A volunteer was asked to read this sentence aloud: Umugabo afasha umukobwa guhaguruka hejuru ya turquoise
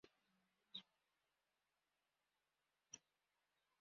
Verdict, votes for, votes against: rejected, 0, 2